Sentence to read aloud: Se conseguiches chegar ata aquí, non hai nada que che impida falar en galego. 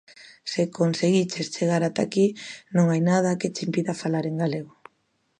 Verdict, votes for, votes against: accepted, 2, 0